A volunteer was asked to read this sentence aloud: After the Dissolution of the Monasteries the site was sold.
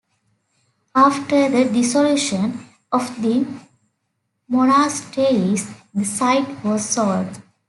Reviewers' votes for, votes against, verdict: 2, 0, accepted